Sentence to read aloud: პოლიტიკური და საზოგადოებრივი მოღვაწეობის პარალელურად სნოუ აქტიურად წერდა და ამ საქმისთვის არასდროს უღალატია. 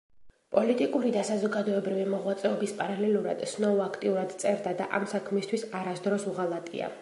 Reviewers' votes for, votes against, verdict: 2, 0, accepted